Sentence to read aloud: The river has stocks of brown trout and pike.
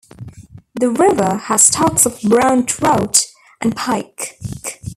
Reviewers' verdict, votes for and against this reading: rejected, 1, 2